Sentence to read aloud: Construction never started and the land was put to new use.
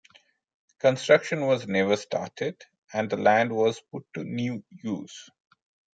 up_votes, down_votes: 0, 2